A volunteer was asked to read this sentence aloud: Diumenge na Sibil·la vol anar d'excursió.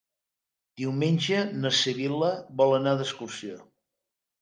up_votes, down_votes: 3, 0